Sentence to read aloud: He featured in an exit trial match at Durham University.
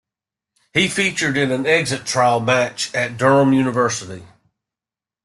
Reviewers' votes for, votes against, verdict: 2, 0, accepted